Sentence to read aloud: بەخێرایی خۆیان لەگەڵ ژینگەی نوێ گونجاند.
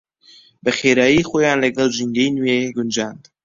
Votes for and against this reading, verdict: 2, 0, accepted